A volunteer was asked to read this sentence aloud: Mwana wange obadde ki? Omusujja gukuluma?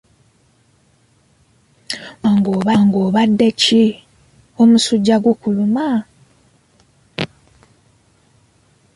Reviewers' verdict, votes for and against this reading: rejected, 0, 2